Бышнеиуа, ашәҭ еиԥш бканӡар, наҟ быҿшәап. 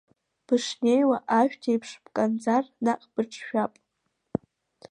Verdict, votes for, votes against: accepted, 2, 1